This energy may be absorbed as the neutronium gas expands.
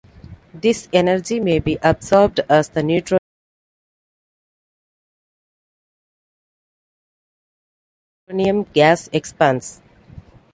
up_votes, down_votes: 0, 2